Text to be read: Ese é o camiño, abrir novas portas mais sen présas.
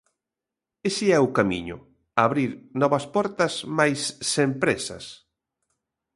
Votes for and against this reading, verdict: 2, 0, accepted